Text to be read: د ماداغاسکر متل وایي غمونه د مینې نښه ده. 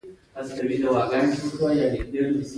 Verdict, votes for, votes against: rejected, 0, 2